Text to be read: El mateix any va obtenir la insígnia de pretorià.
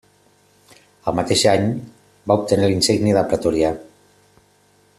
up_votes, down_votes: 2, 0